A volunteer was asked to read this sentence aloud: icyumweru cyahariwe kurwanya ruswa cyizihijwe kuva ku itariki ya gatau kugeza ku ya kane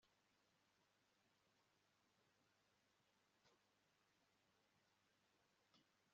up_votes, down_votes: 0, 2